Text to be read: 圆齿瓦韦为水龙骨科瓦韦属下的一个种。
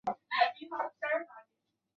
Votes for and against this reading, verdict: 0, 3, rejected